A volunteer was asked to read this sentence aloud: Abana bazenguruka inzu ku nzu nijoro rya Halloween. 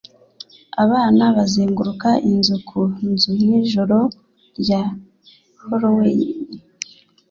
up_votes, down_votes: 2, 0